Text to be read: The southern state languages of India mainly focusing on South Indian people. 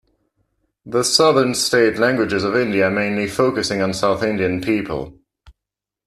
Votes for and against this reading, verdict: 1, 2, rejected